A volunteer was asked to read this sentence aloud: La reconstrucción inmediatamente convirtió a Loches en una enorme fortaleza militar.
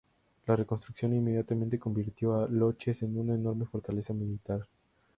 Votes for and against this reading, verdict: 2, 0, accepted